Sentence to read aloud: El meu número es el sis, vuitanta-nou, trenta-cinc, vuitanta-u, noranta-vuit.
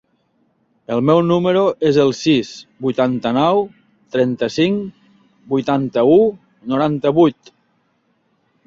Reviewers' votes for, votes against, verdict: 4, 0, accepted